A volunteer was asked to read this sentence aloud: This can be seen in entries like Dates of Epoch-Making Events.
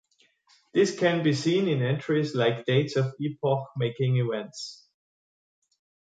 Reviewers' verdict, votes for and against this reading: accepted, 3, 0